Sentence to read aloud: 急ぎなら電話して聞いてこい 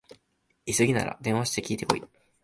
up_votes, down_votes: 2, 0